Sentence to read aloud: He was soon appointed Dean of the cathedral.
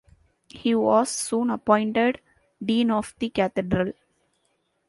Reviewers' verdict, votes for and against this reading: accepted, 2, 1